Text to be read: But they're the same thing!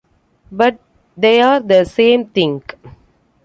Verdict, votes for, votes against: accepted, 2, 1